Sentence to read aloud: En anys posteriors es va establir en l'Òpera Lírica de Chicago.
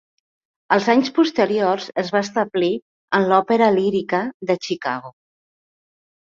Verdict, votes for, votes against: rejected, 1, 2